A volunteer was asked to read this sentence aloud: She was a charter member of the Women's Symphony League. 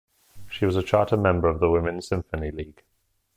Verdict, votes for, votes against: accepted, 2, 0